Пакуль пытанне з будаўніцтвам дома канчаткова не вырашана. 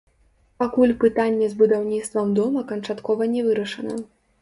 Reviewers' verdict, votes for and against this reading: rejected, 0, 2